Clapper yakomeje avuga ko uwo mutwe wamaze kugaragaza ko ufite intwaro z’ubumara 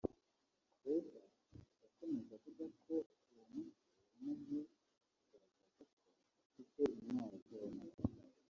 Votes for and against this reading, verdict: 1, 4, rejected